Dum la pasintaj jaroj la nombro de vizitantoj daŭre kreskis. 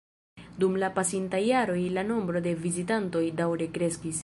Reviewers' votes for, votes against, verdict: 1, 2, rejected